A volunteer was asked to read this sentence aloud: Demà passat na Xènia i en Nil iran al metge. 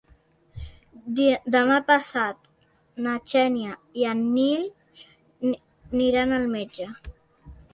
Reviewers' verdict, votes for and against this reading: rejected, 0, 2